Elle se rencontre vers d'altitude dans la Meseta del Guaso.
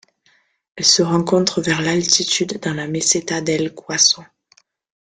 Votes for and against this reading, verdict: 1, 2, rejected